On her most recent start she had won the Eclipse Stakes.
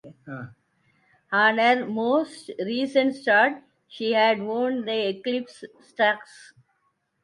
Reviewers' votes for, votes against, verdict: 0, 3, rejected